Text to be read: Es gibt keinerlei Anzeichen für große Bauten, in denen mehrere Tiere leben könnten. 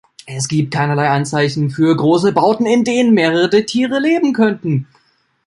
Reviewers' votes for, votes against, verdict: 0, 2, rejected